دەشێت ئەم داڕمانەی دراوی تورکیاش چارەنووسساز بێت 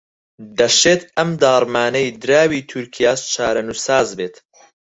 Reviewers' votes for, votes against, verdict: 4, 0, accepted